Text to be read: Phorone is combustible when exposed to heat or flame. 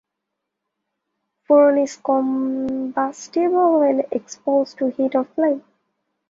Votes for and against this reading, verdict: 2, 0, accepted